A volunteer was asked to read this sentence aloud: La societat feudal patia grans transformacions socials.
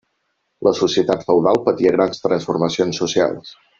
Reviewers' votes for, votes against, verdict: 4, 1, accepted